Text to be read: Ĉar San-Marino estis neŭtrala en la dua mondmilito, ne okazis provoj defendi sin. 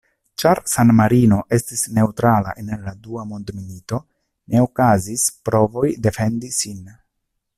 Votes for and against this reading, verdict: 2, 0, accepted